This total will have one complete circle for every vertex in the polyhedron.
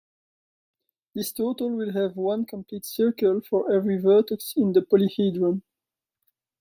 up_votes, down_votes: 2, 0